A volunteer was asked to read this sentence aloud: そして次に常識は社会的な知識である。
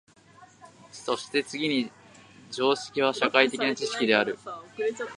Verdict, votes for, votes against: rejected, 1, 2